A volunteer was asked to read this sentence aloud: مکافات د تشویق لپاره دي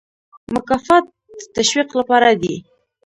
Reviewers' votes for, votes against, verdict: 1, 2, rejected